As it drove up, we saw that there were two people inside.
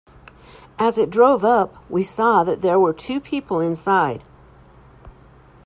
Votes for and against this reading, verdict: 2, 0, accepted